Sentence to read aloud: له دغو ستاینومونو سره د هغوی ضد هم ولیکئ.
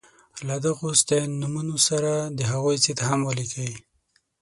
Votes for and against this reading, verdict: 3, 6, rejected